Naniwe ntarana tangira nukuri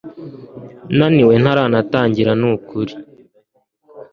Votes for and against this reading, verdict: 2, 0, accepted